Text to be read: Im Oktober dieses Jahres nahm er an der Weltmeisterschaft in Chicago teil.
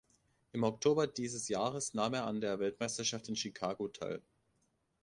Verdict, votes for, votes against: accepted, 2, 0